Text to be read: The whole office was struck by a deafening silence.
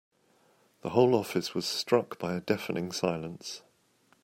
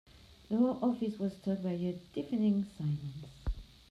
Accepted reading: first